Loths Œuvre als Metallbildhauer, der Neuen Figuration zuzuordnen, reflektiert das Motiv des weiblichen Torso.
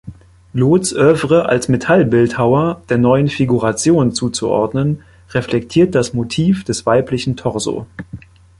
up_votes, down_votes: 2, 1